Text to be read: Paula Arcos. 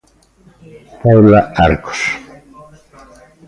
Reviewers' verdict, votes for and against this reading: accepted, 2, 0